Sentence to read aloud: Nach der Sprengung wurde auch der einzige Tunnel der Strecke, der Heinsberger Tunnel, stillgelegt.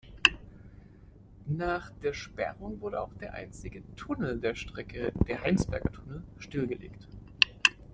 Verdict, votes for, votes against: rejected, 0, 2